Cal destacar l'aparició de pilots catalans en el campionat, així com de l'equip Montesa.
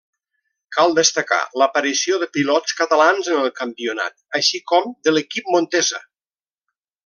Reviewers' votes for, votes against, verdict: 0, 2, rejected